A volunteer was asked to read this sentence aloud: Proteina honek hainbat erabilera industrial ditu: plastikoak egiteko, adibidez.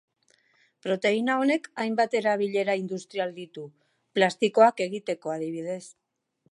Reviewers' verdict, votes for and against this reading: accepted, 2, 0